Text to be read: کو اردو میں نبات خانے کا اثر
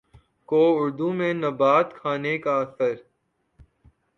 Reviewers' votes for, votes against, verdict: 2, 0, accepted